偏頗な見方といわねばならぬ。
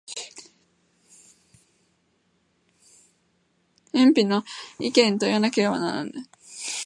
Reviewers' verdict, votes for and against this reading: rejected, 4, 14